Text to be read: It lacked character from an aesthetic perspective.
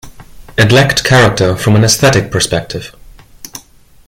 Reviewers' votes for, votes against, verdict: 1, 2, rejected